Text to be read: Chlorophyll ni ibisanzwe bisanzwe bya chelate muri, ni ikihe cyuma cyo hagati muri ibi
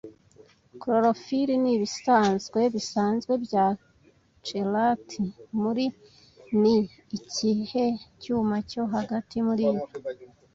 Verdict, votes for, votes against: rejected, 1, 2